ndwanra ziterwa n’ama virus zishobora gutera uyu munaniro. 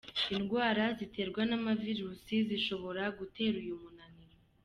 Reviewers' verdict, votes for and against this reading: accepted, 2, 0